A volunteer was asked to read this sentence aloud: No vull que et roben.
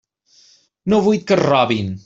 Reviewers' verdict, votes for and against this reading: rejected, 1, 2